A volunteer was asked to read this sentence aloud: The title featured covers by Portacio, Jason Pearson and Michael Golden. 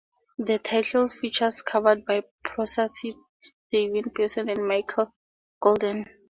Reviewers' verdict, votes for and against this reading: rejected, 0, 2